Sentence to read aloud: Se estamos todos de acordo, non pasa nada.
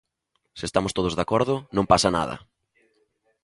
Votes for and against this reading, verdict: 2, 0, accepted